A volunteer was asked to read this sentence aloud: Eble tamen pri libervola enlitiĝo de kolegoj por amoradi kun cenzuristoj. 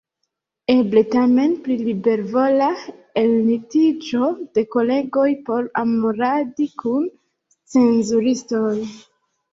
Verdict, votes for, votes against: rejected, 1, 2